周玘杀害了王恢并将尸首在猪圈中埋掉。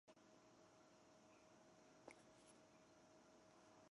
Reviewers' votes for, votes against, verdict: 0, 2, rejected